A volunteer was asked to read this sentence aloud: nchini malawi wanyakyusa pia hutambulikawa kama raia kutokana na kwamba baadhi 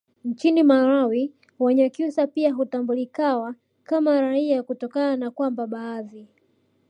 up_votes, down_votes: 2, 1